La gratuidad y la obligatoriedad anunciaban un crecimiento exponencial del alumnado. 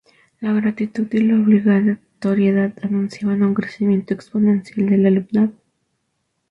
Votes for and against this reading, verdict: 0, 2, rejected